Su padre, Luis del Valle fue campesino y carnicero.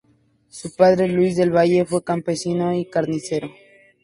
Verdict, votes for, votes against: accepted, 2, 0